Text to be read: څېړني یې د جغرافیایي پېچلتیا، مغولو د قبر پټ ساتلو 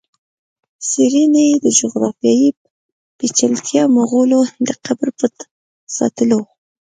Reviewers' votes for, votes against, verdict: 1, 2, rejected